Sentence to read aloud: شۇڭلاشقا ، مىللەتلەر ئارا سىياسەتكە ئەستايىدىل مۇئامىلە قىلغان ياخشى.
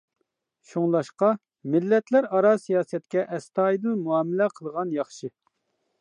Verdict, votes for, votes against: accepted, 2, 0